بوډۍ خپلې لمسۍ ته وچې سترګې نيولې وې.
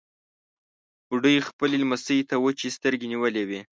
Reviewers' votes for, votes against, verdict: 2, 0, accepted